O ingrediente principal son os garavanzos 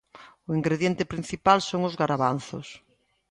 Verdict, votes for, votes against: accepted, 2, 0